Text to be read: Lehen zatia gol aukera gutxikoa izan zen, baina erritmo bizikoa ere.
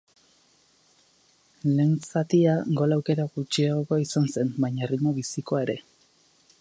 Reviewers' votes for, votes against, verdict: 2, 4, rejected